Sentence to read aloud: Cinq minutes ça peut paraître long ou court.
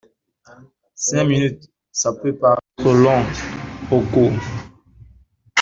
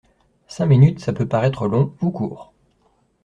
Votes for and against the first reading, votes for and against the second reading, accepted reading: 1, 2, 2, 0, second